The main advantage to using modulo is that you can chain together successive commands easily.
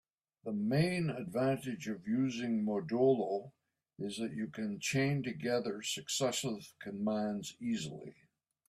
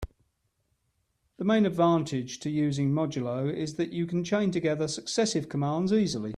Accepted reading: second